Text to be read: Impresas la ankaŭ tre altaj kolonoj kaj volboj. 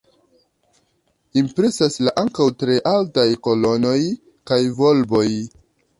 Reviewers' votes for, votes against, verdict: 2, 1, accepted